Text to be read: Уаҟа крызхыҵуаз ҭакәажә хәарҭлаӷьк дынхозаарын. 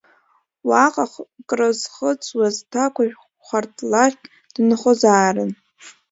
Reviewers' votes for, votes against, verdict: 0, 2, rejected